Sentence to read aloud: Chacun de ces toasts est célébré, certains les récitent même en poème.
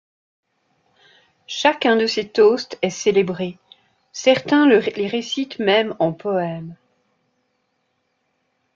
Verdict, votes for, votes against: rejected, 0, 2